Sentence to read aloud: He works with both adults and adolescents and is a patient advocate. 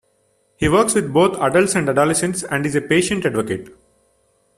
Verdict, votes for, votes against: rejected, 1, 2